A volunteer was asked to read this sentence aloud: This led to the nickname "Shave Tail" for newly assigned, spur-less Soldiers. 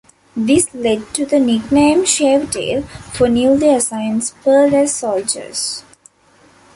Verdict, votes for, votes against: accepted, 2, 1